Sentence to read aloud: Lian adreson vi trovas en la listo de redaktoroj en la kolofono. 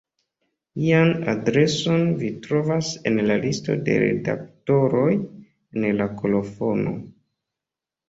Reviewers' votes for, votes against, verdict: 2, 0, accepted